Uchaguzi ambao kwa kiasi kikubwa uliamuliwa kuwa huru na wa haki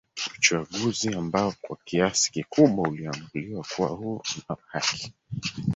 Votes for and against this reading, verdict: 2, 3, rejected